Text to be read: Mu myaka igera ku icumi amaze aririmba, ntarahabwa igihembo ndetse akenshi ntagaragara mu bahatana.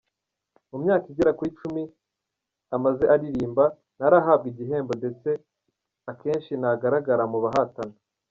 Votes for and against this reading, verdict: 2, 1, accepted